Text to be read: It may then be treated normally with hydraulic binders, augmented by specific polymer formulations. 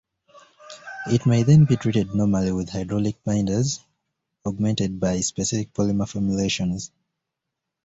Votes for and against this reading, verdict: 2, 0, accepted